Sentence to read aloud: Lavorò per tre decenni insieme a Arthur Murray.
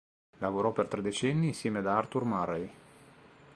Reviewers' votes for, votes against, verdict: 2, 0, accepted